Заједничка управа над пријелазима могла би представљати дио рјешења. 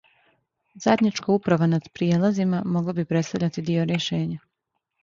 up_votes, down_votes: 2, 0